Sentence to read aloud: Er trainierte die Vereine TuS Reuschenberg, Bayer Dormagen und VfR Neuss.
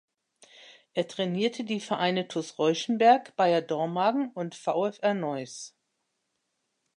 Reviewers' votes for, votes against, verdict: 2, 0, accepted